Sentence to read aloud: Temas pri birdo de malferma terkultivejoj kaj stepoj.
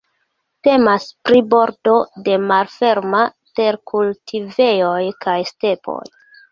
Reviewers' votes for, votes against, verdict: 1, 2, rejected